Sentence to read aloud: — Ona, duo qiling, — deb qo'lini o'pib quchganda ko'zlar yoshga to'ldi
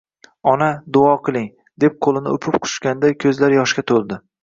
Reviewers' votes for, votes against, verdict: 2, 0, accepted